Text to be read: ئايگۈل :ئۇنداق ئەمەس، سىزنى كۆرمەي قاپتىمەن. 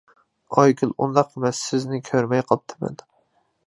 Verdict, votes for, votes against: accepted, 2, 0